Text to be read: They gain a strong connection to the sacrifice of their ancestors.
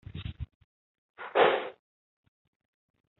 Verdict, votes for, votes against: rejected, 0, 2